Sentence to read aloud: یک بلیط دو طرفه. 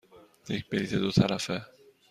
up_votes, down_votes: 2, 0